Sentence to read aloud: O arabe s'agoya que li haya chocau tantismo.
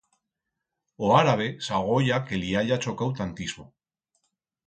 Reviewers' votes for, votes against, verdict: 2, 4, rejected